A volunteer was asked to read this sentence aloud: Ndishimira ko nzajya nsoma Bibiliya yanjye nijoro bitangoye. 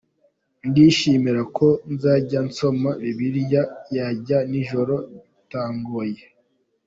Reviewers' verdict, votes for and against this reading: accepted, 2, 0